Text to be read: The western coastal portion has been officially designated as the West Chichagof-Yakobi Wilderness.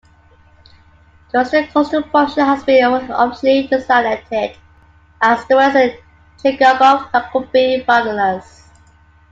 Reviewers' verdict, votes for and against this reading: rejected, 0, 2